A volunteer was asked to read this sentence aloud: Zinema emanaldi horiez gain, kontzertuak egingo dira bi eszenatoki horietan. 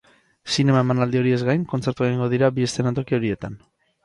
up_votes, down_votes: 6, 0